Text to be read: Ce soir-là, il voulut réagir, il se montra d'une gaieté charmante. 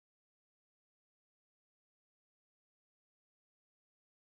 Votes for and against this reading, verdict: 0, 2, rejected